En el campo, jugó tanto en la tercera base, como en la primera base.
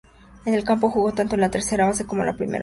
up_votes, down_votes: 2, 0